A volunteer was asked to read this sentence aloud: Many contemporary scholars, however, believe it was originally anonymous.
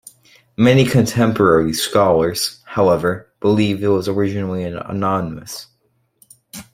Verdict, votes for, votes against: accepted, 2, 1